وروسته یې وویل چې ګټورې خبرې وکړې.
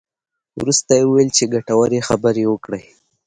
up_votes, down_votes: 3, 0